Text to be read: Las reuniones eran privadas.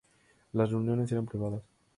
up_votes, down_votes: 2, 0